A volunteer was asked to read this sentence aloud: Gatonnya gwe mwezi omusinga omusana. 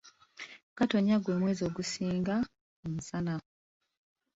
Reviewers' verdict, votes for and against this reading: rejected, 1, 2